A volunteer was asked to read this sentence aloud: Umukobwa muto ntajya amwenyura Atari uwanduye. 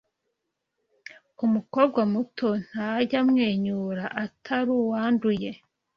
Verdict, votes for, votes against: accepted, 2, 0